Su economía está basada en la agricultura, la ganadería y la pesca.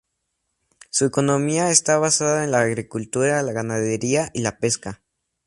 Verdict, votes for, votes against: accepted, 2, 0